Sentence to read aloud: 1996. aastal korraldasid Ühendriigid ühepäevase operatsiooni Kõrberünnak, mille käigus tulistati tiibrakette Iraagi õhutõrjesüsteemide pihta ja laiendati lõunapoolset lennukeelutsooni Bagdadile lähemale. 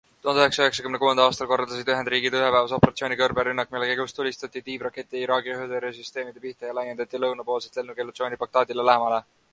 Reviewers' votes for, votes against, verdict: 0, 2, rejected